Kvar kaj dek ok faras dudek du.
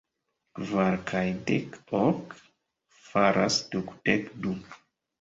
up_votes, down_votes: 2, 1